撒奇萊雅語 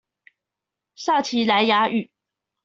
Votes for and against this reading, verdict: 2, 0, accepted